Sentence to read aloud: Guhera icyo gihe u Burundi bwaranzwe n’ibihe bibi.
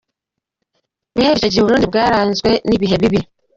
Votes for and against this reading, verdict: 2, 0, accepted